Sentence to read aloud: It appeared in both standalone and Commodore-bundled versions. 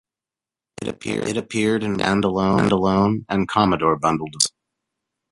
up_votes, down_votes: 0, 2